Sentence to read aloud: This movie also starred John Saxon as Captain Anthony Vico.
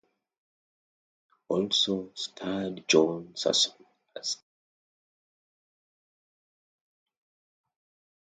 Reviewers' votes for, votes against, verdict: 0, 2, rejected